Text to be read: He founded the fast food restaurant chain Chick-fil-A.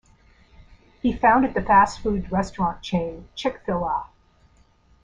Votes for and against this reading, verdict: 1, 2, rejected